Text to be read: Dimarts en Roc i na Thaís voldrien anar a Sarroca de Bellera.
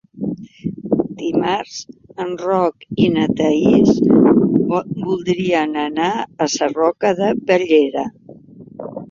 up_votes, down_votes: 1, 2